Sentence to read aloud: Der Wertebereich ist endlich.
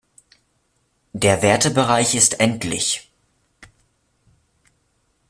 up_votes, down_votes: 0, 2